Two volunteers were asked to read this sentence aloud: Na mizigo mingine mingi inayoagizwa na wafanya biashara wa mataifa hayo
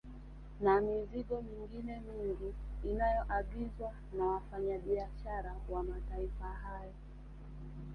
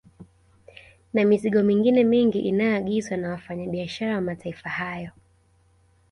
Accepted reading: second